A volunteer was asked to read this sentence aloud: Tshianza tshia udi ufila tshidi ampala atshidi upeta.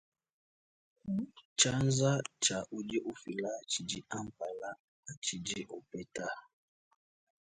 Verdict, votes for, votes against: accepted, 2, 0